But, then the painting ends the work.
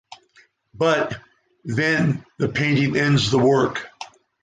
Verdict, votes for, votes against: accepted, 3, 2